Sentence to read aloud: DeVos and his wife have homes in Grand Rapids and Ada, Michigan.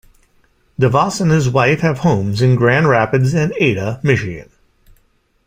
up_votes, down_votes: 2, 0